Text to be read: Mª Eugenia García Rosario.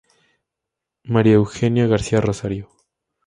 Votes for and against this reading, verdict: 2, 0, accepted